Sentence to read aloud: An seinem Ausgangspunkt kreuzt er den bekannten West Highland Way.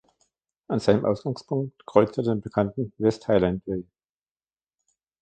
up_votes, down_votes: 1, 2